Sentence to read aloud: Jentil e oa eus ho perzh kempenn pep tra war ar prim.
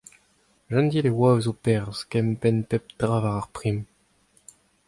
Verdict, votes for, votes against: accepted, 2, 0